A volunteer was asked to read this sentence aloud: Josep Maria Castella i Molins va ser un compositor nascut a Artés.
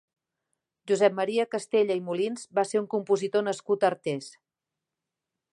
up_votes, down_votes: 3, 0